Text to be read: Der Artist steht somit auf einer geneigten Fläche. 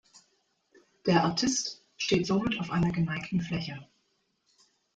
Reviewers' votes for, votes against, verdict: 2, 0, accepted